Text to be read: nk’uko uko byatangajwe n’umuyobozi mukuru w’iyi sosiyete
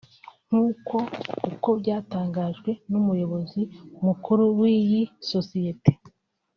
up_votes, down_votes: 2, 1